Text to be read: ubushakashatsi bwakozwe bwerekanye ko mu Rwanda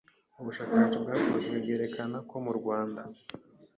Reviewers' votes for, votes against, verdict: 0, 2, rejected